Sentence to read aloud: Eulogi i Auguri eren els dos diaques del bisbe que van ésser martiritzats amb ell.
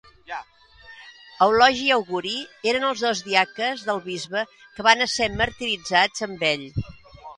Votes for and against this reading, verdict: 1, 2, rejected